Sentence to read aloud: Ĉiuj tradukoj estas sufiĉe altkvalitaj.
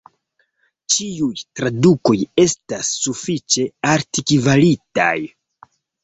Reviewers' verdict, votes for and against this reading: accepted, 2, 0